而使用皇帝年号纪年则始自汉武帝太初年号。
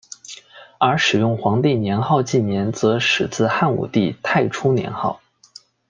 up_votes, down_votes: 2, 0